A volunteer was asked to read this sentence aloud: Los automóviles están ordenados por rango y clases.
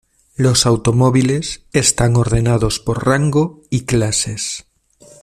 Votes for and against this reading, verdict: 2, 0, accepted